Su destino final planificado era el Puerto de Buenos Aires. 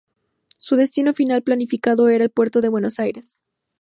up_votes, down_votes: 4, 0